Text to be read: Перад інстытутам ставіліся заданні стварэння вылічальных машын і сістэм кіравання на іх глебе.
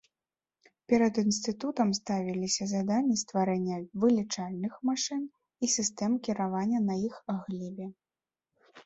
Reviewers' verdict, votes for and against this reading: accepted, 2, 0